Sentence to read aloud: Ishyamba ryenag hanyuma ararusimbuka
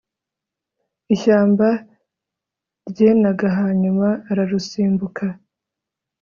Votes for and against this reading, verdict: 2, 0, accepted